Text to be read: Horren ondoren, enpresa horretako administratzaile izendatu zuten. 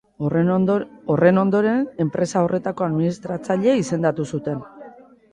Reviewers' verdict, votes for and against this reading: rejected, 0, 2